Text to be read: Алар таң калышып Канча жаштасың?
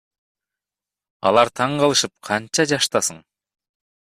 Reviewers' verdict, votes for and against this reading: rejected, 1, 2